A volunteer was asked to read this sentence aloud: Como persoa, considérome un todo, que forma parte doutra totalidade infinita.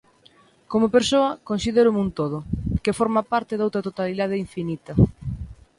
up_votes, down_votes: 2, 0